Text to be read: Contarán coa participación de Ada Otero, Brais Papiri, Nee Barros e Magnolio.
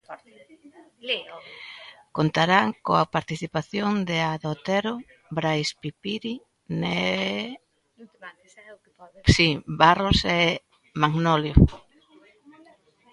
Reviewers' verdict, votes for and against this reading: rejected, 0, 2